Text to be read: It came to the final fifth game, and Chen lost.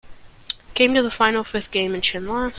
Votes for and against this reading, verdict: 0, 2, rejected